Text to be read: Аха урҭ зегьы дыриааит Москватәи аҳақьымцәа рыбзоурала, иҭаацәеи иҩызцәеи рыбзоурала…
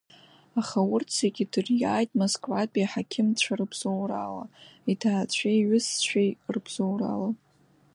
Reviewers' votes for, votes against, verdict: 2, 0, accepted